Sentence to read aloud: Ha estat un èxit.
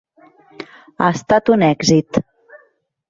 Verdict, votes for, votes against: accepted, 3, 0